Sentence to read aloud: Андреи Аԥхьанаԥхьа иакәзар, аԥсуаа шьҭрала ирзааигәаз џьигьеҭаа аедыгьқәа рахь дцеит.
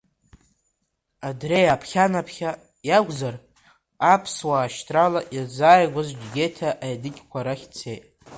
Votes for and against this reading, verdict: 1, 2, rejected